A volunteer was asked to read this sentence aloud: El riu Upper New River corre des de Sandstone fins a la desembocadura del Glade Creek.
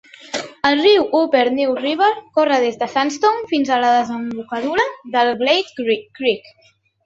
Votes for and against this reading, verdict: 0, 2, rejected